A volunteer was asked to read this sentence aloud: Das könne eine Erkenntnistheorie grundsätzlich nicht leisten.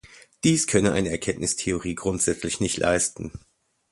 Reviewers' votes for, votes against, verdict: 0, 2, rejected